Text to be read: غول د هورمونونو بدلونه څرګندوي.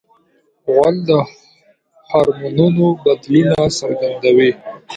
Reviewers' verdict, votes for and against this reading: rejected, 1, 2